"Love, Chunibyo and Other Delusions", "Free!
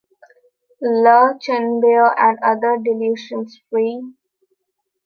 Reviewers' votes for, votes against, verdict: 2, 3, rejected